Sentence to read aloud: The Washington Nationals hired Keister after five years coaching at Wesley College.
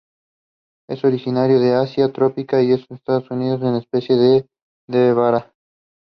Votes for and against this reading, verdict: 0, 2, rejected